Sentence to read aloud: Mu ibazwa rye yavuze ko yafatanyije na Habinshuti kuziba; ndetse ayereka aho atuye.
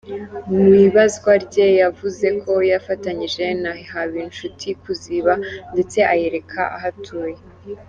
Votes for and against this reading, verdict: 3, 1, accepted